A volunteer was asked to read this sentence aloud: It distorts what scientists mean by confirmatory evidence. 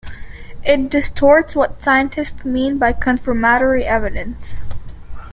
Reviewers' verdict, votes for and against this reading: accepted, 2, 0